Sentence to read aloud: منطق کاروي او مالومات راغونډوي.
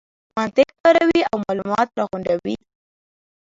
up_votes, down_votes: 1, 2